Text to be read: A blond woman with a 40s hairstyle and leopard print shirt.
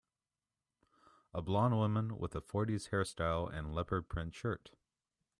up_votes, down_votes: 0, 2